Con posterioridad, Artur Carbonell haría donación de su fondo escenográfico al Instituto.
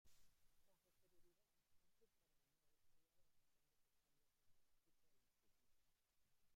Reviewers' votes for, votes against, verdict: 0, 2, rejected